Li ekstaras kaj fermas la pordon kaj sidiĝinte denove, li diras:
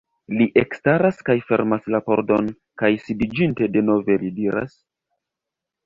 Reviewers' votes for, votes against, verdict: 0, 2, rejected